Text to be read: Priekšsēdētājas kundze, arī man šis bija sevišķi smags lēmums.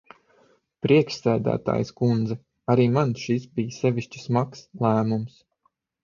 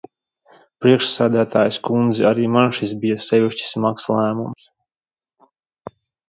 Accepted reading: second